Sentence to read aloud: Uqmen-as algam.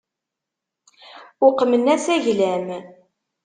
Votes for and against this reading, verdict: 1, 2, rejected